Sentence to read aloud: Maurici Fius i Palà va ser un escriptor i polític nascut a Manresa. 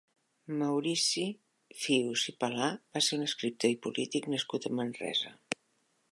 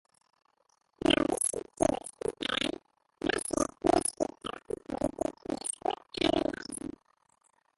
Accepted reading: first